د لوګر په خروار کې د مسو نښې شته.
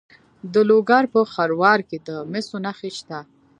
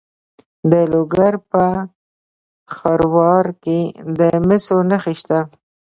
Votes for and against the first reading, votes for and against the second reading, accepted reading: 0, 2, 2, 1, second